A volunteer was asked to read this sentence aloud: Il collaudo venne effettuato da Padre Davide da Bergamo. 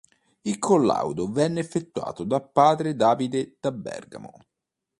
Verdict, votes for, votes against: accepted, 2, 0